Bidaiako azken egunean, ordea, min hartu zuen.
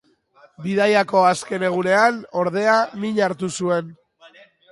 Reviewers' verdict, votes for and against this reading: accepted, 3, 0